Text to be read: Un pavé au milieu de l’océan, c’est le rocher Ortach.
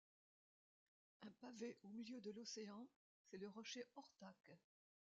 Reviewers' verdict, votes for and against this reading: rejected, 0, 2